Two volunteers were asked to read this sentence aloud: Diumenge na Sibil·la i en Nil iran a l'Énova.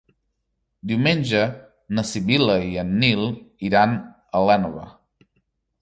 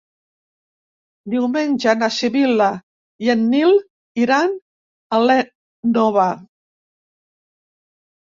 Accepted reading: first